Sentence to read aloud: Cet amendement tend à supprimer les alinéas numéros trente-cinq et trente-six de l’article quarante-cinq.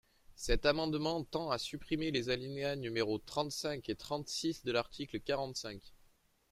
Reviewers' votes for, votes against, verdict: 2, 0, accepted